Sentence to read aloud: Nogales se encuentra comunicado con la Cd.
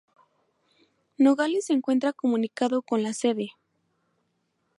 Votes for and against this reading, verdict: 0, 2, rejected